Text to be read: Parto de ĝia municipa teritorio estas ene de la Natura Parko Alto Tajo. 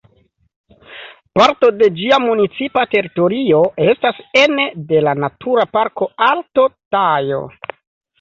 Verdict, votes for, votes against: accepted, 2, 0